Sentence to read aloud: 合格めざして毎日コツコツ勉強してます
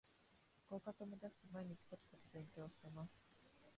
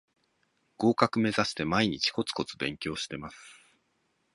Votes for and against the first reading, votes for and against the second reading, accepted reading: 0, 2, 2, 0, second